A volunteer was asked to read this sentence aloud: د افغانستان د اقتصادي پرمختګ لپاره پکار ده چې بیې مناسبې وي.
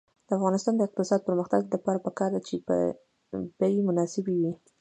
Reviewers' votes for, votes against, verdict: 2, 0, accepted